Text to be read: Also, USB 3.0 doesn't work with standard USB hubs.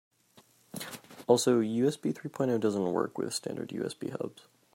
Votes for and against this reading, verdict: 0, 2, rejected